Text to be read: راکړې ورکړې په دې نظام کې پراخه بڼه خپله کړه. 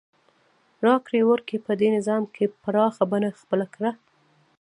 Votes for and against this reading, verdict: 3, 1, accepted